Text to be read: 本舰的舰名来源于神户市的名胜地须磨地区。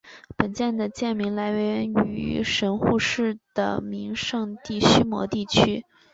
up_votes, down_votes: 2, 0